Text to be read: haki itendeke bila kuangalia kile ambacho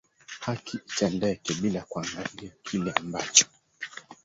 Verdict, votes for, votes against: rejected, 0, 2